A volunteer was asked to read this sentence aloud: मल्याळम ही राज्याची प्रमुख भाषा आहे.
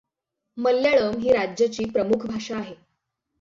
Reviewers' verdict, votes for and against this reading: accepted, 6, 0